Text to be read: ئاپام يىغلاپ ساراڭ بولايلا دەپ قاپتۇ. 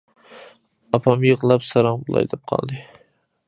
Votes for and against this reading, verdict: 0, 2, rejected